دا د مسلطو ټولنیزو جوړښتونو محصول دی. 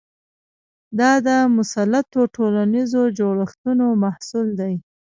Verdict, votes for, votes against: rejected, 0, 2